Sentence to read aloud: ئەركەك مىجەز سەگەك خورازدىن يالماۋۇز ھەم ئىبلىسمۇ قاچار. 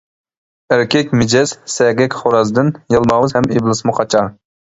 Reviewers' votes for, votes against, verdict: 2, 0, accepted